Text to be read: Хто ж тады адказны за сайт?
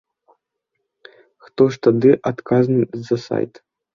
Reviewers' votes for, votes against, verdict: 2, 0, accepted